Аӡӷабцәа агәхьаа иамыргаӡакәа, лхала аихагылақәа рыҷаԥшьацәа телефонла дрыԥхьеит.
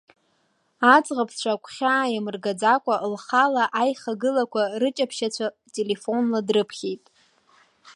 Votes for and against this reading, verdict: 2, 0, accepted